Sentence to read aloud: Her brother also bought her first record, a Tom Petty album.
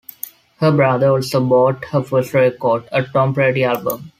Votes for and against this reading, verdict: 0, 2, rejected